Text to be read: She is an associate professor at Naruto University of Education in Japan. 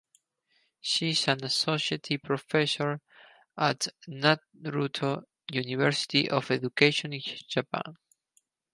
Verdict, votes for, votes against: accepted, 4, 2